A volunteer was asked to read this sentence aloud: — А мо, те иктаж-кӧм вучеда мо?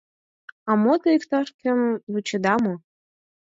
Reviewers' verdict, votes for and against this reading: accepted, 4, 0